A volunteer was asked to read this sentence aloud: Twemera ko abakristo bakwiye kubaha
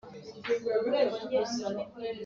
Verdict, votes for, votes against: rejected, 0, 2